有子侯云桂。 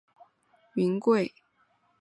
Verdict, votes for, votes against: rejected, 3, 4